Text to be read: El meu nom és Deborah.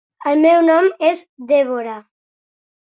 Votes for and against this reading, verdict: 2, 0, accepted